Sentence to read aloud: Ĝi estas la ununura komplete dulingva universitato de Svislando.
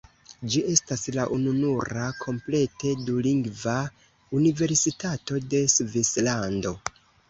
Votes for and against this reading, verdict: 0, 2, rejected